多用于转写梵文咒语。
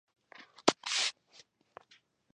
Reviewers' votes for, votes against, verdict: 0, 2, rejected